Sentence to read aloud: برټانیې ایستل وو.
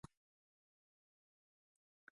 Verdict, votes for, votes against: rejected, 0, 2